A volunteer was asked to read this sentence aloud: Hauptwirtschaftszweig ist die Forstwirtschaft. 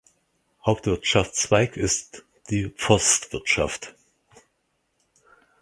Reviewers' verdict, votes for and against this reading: accepted, 4, 0